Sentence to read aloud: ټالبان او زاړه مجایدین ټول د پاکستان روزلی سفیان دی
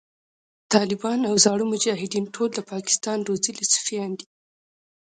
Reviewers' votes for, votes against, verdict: 0, 2, rejected